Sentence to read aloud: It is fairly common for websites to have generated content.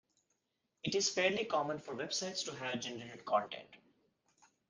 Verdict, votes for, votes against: accepted, 2, 0